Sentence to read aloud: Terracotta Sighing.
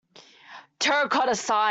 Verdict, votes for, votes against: rejected, 0, 2